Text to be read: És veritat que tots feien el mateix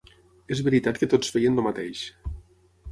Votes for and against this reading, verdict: 3, 6, rejected